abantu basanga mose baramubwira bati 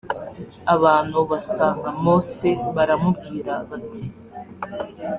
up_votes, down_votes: 2, 0